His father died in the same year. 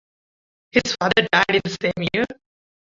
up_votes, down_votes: 0, 2